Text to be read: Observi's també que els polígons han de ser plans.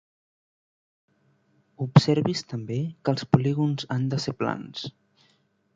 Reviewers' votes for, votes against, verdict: 2, 0, accepted